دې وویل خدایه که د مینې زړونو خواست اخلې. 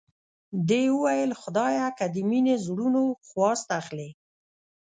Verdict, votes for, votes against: rejected, 1, 2